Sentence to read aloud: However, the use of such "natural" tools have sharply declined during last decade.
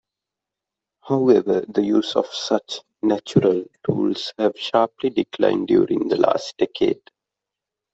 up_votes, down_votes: 0, 2